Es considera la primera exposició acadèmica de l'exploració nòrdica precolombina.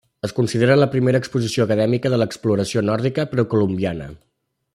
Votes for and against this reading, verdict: 0, 2, rejected